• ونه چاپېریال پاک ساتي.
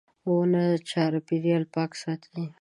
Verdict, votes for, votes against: accepted, 2, 0